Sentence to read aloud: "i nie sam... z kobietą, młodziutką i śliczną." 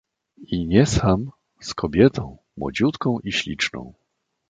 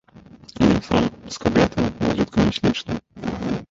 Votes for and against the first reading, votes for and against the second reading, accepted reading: 2, 0, 0, 2, first